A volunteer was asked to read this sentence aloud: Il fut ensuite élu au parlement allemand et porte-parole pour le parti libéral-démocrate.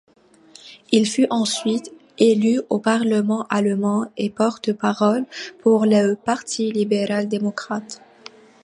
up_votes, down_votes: 2, 0